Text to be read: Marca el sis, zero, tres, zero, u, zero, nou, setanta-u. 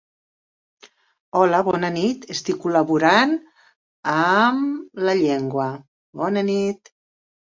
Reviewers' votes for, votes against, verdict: 0, 2, rejected